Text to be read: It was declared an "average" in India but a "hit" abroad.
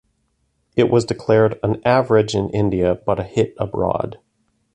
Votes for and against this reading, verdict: 1, 2, rejected